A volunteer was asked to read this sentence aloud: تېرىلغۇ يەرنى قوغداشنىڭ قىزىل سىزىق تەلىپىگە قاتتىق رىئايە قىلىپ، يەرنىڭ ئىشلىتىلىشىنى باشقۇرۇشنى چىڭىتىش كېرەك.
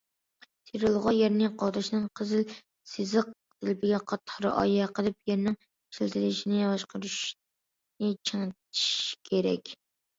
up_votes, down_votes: 0, 2